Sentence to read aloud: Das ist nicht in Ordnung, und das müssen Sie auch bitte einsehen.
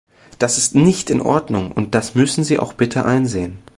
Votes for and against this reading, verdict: 2, 0, accepted